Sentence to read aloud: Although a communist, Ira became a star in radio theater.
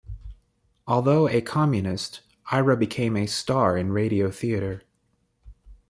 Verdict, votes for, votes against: rejected, 1, 2